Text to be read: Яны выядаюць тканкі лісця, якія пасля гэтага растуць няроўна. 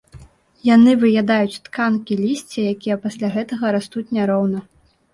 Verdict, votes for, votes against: accepted, 2, 0